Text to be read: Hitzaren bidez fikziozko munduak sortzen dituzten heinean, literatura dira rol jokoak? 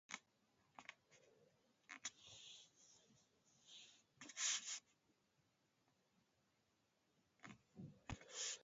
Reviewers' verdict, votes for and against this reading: rejected, 0, 2